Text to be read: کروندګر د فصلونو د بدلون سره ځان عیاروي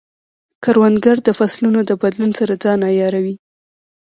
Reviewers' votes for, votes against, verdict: 0, 2, rejected